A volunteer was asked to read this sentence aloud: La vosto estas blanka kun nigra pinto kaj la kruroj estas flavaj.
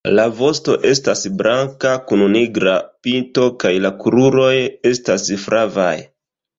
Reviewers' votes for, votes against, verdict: 2, 0, accepted